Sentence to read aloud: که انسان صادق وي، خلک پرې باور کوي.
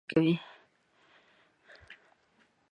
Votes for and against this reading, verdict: 0, 2, rejected